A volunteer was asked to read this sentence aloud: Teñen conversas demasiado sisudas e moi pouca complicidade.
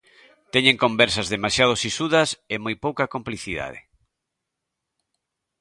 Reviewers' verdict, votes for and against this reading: accepted, 2, 0